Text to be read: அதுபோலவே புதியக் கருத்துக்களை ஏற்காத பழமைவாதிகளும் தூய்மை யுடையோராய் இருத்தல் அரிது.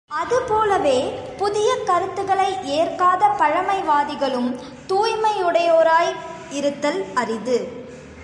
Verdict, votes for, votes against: accepted, 3, 0